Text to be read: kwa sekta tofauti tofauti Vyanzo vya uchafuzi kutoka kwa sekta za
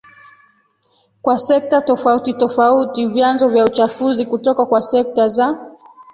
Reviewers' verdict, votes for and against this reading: rejected, 0, 2